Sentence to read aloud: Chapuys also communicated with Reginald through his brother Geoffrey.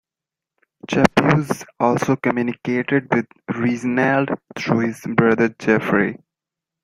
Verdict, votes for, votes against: rejected, 1, 2